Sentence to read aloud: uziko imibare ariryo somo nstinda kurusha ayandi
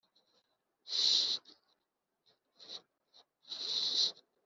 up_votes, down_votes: 1, 4